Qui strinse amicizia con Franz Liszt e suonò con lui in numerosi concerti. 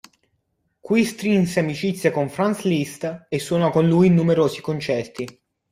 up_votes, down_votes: 2, 0